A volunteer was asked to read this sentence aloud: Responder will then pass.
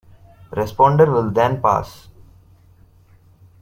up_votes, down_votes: 2, 0